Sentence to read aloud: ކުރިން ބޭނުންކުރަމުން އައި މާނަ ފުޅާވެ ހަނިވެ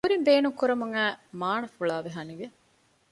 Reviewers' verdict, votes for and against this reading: accepted, 2, 0